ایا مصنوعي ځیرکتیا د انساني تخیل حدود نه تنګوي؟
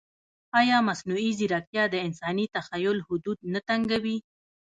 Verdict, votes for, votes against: rejected, 1, 2